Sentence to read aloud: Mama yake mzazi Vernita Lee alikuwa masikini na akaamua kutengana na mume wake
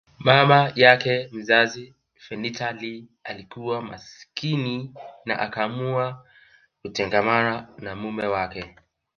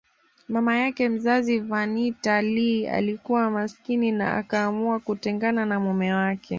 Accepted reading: second